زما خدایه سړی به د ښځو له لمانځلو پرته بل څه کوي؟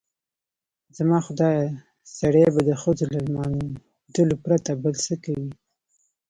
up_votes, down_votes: 2, 0